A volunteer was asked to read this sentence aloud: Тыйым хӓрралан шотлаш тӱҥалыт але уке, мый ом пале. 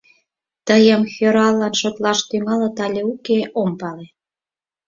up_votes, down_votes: 2, 4